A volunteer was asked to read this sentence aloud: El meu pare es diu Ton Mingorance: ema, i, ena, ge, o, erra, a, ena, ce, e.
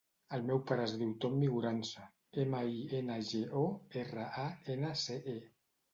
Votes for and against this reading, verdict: 2, 0, accepted